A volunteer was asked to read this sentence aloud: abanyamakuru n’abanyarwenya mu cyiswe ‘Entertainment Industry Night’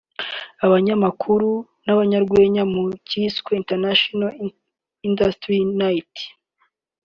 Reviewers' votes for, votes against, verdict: 0, 2, rejected